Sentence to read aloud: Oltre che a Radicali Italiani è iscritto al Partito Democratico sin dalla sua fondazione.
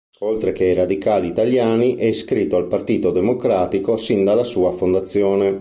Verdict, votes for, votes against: rejected, 1, 2